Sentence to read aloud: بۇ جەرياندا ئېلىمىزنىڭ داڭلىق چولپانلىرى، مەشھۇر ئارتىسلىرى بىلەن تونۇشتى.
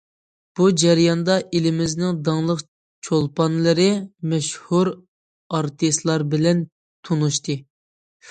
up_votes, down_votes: 0, 2